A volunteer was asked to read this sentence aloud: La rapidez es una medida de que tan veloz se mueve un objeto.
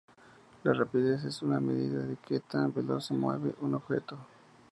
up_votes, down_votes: 2, 0